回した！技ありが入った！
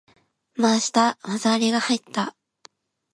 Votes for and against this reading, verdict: 2, 0, accepted